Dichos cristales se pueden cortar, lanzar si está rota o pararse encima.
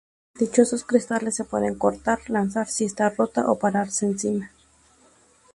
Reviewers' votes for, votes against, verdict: 0, 2, rejected